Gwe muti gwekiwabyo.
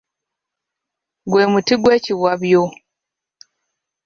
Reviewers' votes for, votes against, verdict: 2, 0, accepted